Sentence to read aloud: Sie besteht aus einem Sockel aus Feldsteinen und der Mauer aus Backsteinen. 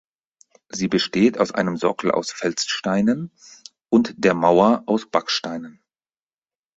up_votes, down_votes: 4, 2